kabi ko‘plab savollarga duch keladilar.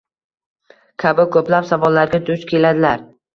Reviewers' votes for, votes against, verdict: 2, 1, accepted